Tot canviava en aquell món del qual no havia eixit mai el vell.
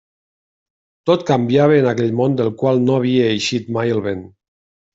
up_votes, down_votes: 1, 2